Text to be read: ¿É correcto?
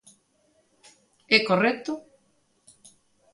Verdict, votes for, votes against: accepted, 2, 0